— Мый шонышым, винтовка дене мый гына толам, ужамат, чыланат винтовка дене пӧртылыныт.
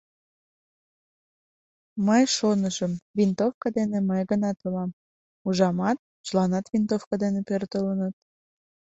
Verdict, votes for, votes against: accepted, 2, 0